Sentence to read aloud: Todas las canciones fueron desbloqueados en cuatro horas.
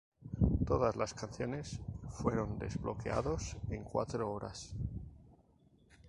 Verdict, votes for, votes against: rejected, 2, 2